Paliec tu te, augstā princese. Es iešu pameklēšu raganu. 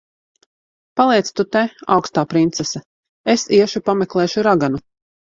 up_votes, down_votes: 2, 0